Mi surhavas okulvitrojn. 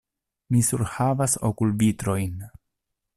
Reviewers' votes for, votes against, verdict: 2, 0, accepted